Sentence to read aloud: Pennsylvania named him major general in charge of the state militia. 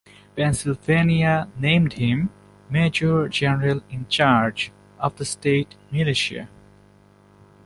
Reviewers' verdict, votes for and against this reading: accepted, 2, 0